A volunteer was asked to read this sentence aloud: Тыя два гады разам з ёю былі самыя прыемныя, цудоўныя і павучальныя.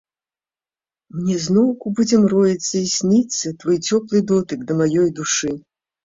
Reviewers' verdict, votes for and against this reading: rejected, 1, 2